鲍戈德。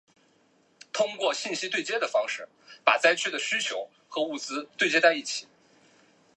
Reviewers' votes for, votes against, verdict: 0, 3, rejected